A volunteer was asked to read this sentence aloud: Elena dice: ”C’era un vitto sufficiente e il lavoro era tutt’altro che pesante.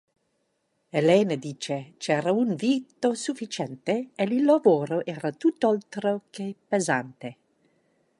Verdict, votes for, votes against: rejected, 0, 2